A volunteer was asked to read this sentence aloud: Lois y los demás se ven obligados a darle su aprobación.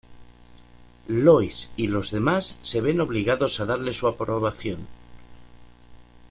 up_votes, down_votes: 2, 0